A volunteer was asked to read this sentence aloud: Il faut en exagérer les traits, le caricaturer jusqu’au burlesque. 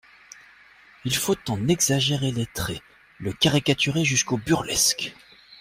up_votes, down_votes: 2, 0